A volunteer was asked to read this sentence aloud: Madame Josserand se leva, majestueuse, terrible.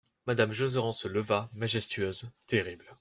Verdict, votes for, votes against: rejected, 0, 2